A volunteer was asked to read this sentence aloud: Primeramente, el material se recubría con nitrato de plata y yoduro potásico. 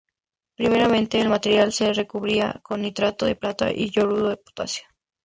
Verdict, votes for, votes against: rejected, 0, 2